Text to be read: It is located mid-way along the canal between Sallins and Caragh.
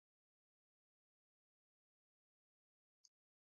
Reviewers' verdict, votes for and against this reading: rejected, 0, 4